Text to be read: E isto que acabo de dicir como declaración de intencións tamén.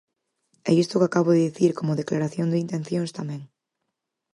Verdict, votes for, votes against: accepted, 4, 0